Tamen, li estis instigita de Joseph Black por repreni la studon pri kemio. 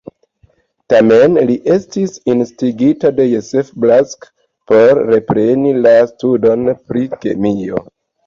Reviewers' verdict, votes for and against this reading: accepted, 2, 0